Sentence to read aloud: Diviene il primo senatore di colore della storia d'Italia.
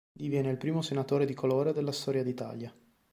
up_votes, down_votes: 2, 0